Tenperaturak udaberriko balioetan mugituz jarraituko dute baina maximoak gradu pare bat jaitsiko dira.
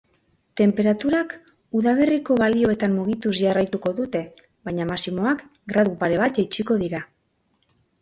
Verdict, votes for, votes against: accepted, 3, 0